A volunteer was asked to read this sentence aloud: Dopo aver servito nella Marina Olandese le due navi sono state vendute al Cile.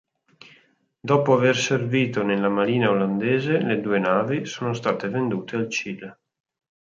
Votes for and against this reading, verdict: 3, 0, accepted